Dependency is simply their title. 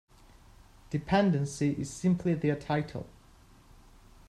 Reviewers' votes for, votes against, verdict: 2, 0, accepted